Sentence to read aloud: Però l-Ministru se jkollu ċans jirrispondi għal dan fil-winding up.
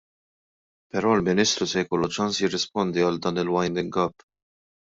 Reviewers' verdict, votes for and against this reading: accepted, 2, 1